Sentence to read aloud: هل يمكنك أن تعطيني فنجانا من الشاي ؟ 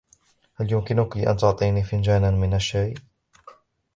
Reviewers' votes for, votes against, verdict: 2, 0, accepted